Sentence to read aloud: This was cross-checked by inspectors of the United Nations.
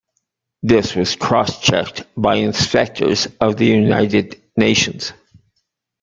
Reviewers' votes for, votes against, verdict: 2, 0, accepted